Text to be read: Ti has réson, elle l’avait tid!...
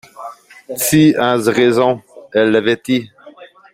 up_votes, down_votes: 1, 2